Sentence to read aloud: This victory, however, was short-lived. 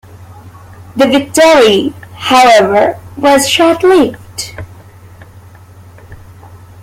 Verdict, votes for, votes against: rejected, 1, 2